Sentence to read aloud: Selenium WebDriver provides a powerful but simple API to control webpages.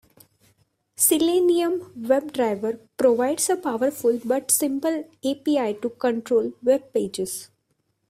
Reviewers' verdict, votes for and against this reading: accepted, 2, 0